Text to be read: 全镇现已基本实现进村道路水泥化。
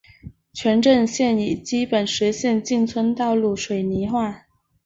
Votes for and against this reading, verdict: 3, 0, accepted